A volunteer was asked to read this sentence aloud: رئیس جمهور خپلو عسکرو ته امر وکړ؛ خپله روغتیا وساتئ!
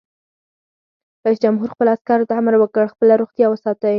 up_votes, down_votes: 4, 0